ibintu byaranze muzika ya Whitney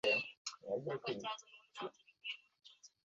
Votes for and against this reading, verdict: 0, 2, rejected